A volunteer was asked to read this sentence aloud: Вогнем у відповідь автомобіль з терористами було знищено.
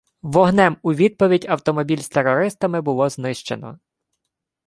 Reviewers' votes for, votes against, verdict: 1, 2, rejected